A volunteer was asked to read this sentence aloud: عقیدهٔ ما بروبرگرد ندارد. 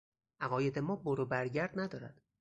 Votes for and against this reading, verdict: 0, 2, rejected